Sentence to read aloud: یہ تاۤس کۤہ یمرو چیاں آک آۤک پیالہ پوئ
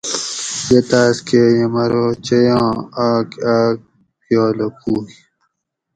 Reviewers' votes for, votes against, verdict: 2, 0, accepted